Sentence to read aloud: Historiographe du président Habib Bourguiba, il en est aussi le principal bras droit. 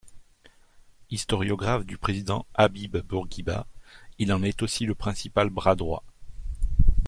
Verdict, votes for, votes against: accepted, 2, 0